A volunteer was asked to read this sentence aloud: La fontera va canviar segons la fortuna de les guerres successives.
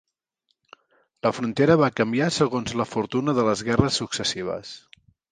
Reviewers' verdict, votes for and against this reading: rejected, 1, 2